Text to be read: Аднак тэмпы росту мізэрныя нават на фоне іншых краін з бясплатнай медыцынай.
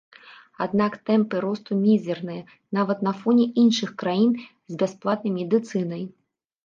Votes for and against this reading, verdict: 2, 0, accepted